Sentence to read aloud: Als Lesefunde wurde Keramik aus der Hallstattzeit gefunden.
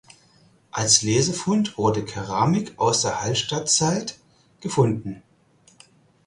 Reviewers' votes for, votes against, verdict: 0, 4, rejected